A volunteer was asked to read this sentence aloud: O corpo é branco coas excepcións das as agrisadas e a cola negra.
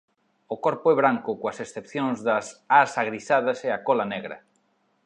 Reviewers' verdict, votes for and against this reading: accepted, 2, 0